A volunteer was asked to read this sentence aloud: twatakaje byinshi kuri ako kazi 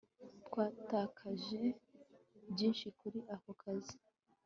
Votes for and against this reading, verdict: 3, 0, accepted